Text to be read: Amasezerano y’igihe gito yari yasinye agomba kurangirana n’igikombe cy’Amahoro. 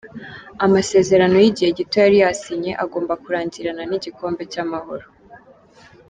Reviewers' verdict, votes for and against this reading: accepted, 2, 0